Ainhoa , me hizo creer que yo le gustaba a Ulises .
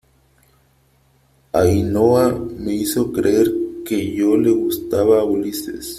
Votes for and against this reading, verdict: 3, 0, accepted